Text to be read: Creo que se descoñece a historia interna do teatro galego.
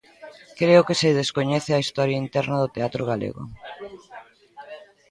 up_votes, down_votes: 2, 0